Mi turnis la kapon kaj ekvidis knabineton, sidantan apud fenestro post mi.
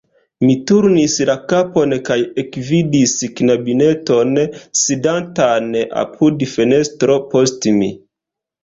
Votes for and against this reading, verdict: 2, 1, accepted